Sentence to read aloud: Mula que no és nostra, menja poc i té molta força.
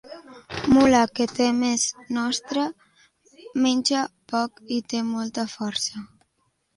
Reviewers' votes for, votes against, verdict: 0, 2, rejected